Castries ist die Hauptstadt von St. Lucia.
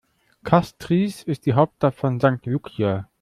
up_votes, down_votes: 0, 2